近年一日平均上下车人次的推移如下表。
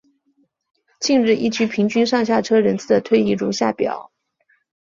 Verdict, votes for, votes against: rejected, 1, 3